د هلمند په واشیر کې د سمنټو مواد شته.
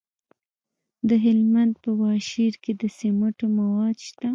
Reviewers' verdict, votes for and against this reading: rejected, 1, 2